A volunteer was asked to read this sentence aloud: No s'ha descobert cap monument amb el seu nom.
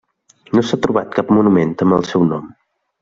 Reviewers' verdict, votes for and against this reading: rejected, 1, 2